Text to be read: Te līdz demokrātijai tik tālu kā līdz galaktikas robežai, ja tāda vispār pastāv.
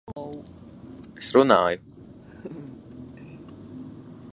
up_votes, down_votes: 0, 2